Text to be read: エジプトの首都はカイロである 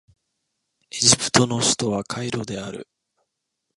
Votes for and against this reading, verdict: 3, 0, accepted